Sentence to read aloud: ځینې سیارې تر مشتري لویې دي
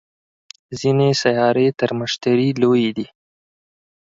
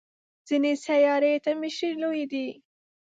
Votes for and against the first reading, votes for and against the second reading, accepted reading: 4, 0, 0, 2, first